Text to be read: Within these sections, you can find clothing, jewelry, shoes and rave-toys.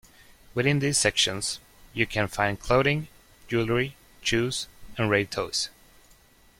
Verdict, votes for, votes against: rejected, 0, 2